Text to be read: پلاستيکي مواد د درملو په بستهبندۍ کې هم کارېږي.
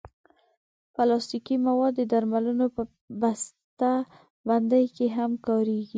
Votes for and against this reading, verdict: 2, 0, accepted